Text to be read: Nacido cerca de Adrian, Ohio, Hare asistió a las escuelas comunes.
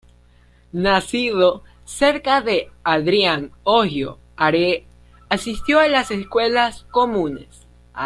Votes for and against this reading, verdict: 1, 2, rejected